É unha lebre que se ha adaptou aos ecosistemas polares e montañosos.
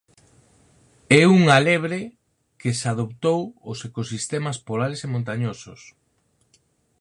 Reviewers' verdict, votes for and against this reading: rejected, 0, 4